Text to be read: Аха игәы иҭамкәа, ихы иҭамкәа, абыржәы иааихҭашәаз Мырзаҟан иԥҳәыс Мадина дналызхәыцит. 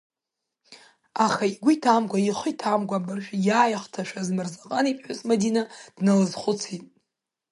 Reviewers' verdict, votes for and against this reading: accepted, 3, 0